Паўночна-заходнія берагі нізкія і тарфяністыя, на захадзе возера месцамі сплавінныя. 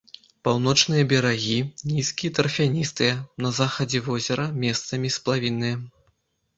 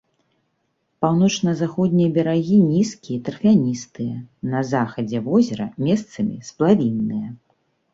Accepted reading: second